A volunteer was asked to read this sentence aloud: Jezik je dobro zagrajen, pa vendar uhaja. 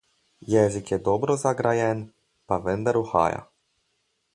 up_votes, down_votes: 4, 0